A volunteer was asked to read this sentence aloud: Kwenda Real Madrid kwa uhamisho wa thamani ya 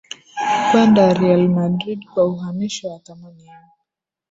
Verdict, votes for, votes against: rejected, 1, 2